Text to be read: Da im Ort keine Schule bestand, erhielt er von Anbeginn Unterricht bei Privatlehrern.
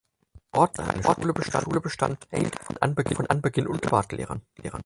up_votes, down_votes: 0, 4